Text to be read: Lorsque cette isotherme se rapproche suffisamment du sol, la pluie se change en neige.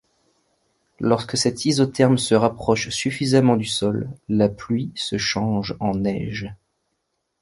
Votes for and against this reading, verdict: 2, 0, accepted